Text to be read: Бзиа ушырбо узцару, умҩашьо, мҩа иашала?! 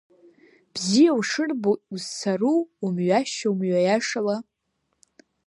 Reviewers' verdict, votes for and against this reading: accepted, 2, 0